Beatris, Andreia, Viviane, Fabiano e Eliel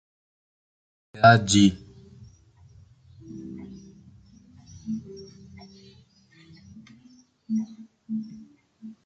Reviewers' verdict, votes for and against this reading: rejected, 0, 2